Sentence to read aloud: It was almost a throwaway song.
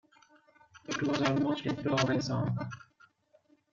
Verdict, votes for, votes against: rejected, 1, 2